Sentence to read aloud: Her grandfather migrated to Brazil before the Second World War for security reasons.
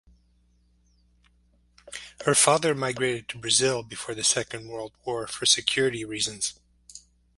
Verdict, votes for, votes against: rejected, 0, 4